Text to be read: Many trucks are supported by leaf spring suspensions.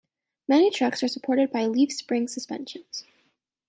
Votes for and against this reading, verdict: 2, 0, accepted